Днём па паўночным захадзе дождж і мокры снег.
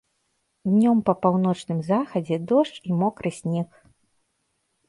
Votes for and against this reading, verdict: 1, 2, rejected